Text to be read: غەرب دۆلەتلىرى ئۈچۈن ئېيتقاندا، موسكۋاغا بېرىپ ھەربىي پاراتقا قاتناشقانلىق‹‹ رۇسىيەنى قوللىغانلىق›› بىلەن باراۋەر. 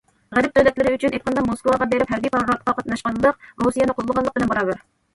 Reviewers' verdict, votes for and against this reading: rejected, 1, 2